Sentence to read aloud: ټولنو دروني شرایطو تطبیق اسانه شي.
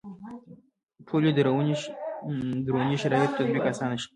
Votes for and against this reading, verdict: 1, 2, rejected